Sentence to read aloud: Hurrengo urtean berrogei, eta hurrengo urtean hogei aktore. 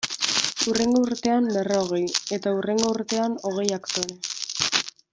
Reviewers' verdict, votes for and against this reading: accepted, 2, 0